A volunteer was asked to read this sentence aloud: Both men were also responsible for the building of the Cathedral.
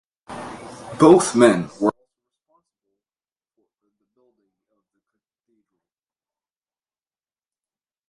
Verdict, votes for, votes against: rejected, 0, 2